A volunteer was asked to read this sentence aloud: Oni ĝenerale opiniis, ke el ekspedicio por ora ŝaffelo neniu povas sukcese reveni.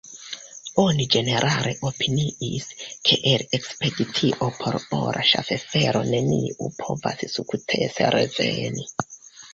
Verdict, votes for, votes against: accepted, 2, 1